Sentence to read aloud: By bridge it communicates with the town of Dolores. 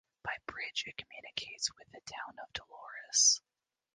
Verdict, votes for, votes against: accepted, 2, 0